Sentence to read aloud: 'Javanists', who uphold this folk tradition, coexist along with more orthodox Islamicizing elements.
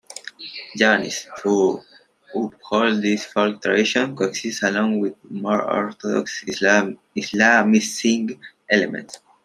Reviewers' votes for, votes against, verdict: 1, 2, rejected